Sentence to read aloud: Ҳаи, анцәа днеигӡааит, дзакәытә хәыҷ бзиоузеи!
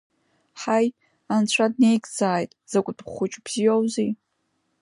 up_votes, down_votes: 2, 0